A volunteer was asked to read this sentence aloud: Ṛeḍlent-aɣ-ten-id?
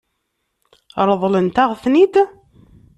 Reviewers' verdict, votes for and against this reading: accepted, 3, 0